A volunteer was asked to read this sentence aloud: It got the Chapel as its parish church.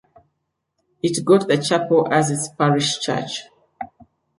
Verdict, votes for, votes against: accepted, 2, 0